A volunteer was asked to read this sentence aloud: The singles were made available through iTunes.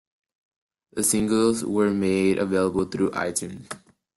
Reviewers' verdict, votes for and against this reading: accepted, 2, 1